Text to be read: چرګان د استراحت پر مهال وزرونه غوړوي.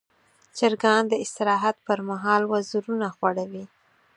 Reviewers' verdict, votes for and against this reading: accepted, 4, 0